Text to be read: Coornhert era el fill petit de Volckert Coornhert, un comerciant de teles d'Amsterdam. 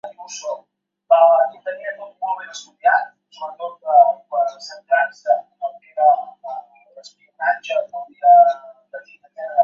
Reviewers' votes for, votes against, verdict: 0, 2, rejected